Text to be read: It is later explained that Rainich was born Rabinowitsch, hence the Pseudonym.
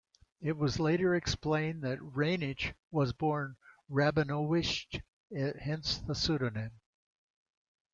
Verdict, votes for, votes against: rejected, 1, 2